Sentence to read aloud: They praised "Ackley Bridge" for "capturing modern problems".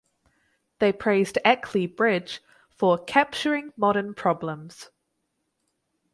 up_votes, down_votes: 2, 0